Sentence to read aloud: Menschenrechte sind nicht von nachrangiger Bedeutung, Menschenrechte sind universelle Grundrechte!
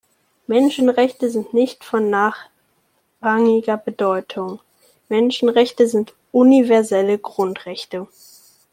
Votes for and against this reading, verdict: 2, 0, accepted